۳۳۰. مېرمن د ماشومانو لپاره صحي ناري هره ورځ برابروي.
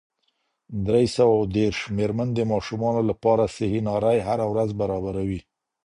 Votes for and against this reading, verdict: 0, 2, rejected